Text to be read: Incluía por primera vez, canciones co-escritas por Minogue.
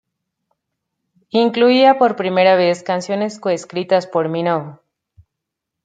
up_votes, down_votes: 2, 0